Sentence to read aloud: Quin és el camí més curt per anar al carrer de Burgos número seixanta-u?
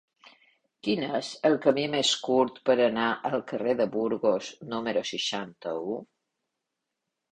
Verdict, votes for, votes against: accepted, 3, 0